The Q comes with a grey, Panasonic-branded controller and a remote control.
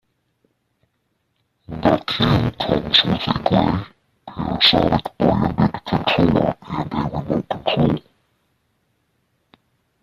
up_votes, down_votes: 0, 2